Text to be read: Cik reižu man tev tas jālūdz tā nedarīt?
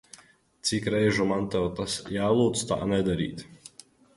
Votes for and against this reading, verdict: 2, 0, accepted